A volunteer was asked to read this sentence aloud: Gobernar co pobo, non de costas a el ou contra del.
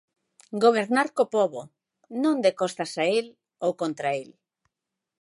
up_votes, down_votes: 0, 3